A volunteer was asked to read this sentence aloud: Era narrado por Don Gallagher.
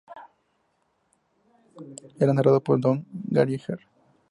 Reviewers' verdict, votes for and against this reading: accepted, 2, 0